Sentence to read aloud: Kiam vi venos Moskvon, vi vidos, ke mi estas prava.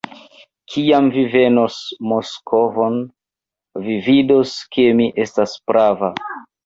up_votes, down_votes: 0, 2